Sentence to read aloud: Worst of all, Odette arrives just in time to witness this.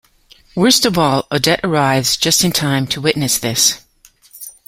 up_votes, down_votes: 2, 0